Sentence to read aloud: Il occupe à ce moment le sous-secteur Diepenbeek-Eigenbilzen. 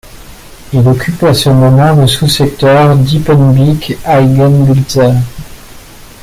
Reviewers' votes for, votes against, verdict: 1, 2, rejected